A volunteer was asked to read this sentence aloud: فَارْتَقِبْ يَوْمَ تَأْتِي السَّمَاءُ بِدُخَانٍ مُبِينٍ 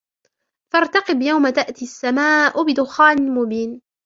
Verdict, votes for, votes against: rejected, 1, 2